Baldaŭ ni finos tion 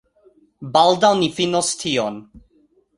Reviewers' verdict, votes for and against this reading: accepted, 2, 0